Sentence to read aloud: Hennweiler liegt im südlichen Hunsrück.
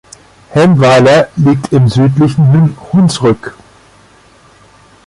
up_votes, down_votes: 0, 4